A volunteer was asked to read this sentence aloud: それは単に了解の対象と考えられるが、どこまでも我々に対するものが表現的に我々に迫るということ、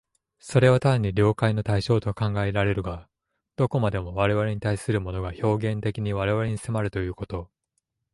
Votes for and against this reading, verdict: 2, 0, accepted